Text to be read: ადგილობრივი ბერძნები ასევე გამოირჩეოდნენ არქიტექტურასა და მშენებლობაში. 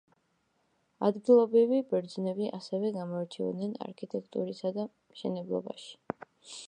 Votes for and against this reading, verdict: 1, 2, rejected